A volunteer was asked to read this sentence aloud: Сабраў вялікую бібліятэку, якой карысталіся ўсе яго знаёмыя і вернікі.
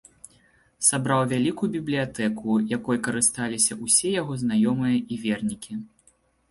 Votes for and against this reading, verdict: 1, 2, rejected